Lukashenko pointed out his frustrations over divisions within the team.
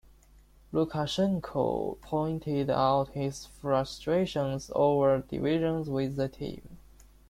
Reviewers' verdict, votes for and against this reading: rejected, 1, 2